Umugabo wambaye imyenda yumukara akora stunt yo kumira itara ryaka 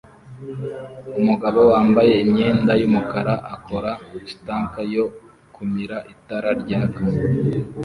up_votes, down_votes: 2, 0